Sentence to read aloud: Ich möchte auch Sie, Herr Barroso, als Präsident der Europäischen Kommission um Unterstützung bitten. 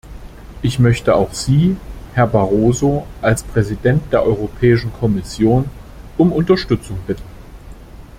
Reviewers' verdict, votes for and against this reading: accepted, 2, 0